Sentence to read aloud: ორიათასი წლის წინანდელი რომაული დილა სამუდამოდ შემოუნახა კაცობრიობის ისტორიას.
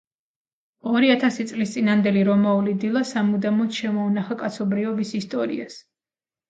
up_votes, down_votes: 2, 0